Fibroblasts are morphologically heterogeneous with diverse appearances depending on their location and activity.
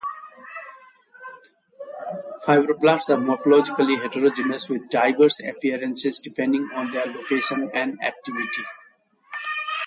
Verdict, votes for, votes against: rejected, 0, 2